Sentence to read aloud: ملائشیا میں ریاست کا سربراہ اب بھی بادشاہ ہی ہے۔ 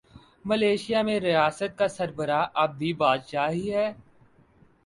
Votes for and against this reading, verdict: 3, 0, accepted